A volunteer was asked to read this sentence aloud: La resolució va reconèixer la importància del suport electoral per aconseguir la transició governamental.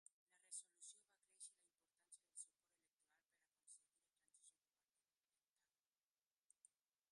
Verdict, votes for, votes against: rejected, 0, 2